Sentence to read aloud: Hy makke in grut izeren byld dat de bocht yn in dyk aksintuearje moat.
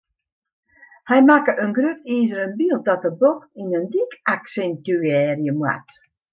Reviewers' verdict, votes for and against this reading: accepted, 2, 0